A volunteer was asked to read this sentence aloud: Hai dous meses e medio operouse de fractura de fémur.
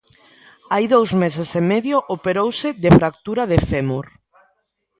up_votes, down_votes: 2, 0